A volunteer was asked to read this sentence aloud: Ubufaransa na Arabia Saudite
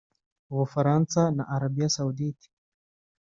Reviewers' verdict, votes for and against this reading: accepted, 2, 0